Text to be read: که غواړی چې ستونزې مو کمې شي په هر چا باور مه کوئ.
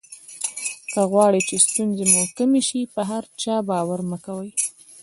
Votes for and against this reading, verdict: 1, 2, rejected